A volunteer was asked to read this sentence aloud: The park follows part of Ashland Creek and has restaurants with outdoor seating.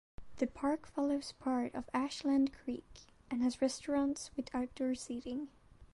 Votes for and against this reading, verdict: 2, 0, accepted